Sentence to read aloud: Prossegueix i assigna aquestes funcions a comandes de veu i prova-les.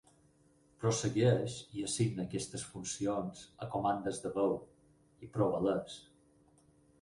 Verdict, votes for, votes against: rejected, 0, 4